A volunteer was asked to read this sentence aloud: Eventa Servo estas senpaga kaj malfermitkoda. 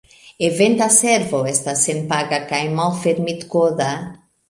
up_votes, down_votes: 2, 0